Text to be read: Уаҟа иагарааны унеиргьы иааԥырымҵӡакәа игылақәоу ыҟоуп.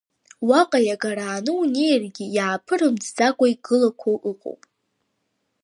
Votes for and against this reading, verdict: 2, 0, accepted